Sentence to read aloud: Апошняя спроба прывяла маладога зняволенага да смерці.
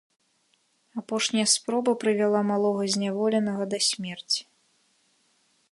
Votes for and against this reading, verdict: 1, 2, rejected